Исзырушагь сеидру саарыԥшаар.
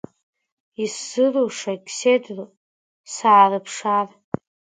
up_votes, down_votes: 2, 1